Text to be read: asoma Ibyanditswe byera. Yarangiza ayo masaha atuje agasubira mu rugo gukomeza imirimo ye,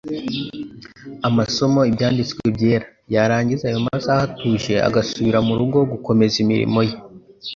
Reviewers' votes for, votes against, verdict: 1, 2, rejected